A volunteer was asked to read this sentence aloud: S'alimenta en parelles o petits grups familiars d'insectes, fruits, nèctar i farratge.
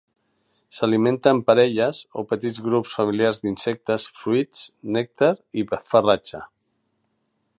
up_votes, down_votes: 2, 0